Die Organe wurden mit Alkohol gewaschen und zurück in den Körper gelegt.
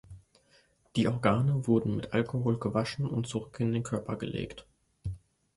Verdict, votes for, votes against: accepted, 2, 1